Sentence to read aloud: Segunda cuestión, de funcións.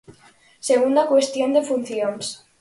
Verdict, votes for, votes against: accepted, 4, 0